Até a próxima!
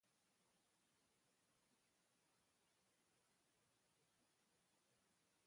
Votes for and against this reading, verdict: 1, 2, rejected